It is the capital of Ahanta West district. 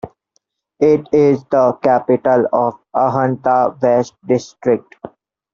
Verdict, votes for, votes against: rejected, 1, 2